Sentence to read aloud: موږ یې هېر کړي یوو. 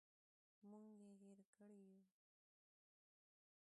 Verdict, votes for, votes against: rejected, 0, 2